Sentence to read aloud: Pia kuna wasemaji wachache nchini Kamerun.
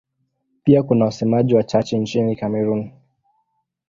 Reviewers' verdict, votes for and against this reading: accepted, 2, 0